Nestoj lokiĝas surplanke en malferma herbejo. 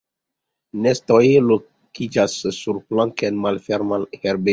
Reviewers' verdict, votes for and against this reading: rejected, 1, 2